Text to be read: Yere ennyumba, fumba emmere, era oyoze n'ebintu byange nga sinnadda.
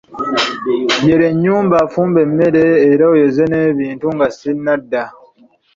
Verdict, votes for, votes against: rejected, 1, 2